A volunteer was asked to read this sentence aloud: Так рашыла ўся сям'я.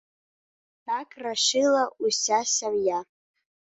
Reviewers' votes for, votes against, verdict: 2, 0, accepted